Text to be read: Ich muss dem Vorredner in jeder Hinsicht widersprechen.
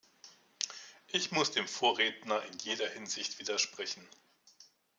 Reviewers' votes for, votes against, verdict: 2, 0, accepted